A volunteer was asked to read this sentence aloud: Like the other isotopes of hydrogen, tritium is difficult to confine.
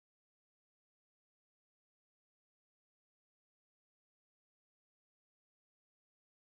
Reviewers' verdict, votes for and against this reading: rejected, 0, 2